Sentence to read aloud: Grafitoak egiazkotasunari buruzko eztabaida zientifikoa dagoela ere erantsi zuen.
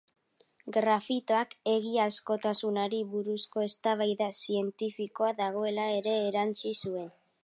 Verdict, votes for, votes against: rejected, 1, 2